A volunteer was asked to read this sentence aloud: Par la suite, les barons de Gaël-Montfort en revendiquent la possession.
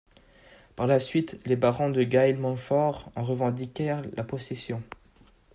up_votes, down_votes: 0, 2